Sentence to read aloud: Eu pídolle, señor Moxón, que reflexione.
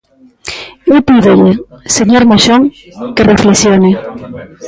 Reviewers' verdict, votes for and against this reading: rejected, 0, 2